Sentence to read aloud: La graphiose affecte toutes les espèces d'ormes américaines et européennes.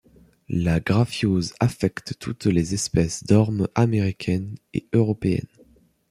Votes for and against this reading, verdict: 2, 0, accepted